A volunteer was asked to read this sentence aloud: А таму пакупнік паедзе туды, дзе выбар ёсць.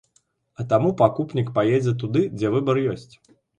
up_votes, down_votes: 1, 2